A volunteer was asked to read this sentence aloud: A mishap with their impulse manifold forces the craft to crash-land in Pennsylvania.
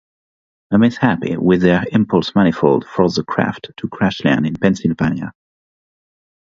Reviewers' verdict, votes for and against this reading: rejected, 0, 3